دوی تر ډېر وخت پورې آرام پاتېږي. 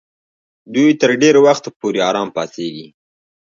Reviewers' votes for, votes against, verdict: 2, 0, accepted